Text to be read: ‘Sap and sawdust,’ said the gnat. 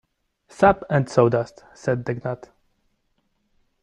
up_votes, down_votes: 0, 2